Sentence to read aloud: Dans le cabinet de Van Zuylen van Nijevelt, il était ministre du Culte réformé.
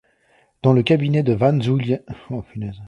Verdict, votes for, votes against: rejected, 0, 2